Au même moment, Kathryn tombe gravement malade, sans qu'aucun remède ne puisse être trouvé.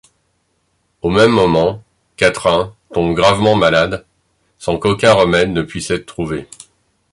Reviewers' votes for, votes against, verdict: 0, 2, rejected